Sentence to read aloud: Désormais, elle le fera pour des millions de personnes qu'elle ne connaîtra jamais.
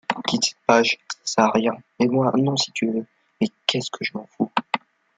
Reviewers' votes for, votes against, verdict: 0, 2, rejected